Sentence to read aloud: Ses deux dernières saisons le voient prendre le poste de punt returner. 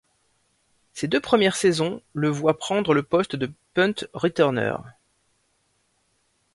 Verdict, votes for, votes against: rejected, 1, 2